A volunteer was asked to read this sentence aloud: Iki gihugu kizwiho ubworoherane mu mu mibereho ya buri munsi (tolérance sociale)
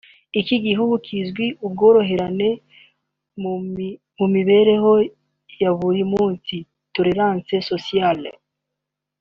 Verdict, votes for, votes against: rejected, 2, 3